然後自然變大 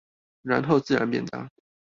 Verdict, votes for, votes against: accepted, 2, 0